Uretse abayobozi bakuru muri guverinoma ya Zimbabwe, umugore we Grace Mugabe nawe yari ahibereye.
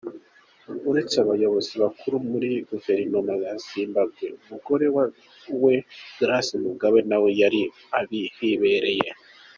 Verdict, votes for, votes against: rejected, 0, 2